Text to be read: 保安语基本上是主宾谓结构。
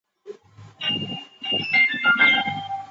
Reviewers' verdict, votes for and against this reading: rejected, 0, 3